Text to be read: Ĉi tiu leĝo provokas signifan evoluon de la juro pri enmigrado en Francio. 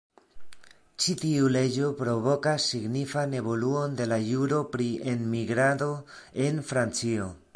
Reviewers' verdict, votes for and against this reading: accepted, 2, 0